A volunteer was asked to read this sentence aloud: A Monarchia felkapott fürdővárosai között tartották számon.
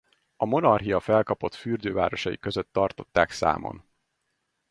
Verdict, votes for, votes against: accepted, 4, 0